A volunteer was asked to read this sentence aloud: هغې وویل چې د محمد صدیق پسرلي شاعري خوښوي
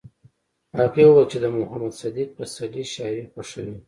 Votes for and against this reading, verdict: 0, 2, rejected